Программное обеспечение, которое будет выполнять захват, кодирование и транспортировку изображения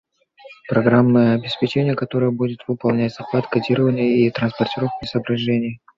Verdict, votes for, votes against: rejected, 1, 2